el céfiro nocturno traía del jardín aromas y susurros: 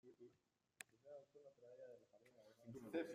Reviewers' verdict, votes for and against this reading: rejected, 0, 2